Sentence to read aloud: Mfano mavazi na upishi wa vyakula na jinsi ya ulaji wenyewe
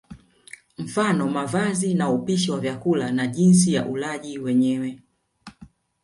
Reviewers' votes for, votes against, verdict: 1, 2, rejected